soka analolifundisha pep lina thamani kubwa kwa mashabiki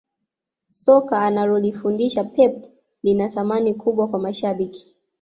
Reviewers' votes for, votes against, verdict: 2, 0, accepted